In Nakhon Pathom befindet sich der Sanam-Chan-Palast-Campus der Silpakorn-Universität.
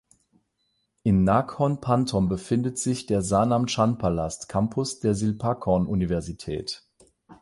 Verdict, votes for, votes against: rejected, 0, 8